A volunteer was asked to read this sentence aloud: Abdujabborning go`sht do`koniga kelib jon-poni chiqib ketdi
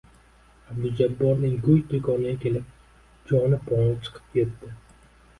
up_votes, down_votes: 1, 2